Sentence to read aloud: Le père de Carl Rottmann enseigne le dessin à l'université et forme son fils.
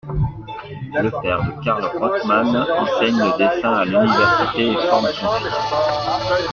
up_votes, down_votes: 0, 2